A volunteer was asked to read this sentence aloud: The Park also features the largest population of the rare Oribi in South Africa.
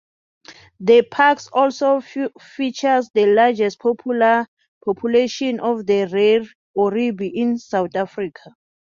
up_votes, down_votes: 1, 2